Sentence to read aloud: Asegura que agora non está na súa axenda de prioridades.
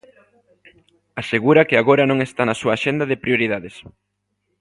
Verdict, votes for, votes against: accepted, 2, 0